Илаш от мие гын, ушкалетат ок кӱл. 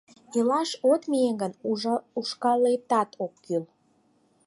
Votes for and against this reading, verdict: 0, 4, rejected